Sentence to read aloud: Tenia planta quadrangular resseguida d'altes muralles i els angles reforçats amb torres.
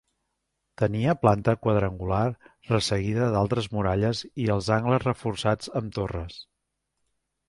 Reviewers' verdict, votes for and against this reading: rejected, 1, 2